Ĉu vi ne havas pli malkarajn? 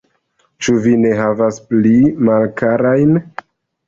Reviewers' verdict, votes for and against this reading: rejected, 0, 2